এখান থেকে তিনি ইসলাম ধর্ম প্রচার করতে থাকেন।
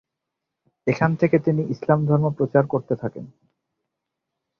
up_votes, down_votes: 8, 0